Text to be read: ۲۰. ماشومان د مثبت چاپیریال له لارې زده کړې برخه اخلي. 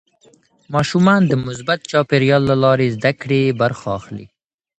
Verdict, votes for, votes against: rejected, 0, 2